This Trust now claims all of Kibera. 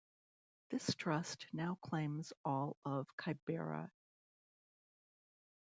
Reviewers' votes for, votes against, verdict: 1, 2, rejected